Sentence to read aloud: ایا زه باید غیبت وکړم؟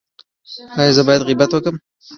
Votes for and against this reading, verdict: 1, 2, rejected